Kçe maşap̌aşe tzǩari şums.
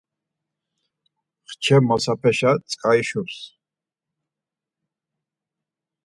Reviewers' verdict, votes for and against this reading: rejected, 2, 4